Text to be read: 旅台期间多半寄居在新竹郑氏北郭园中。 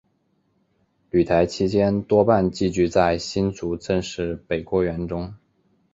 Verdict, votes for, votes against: rejected, 2, 2